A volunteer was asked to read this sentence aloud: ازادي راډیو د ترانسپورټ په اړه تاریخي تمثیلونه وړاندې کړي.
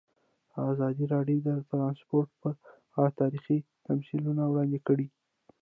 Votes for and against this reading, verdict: 1, 2, rejected